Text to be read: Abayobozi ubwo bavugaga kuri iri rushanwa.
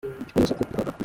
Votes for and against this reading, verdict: 0, 2, rejected